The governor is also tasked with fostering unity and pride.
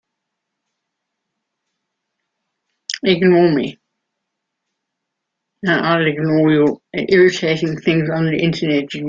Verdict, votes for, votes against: rejected, 0, 2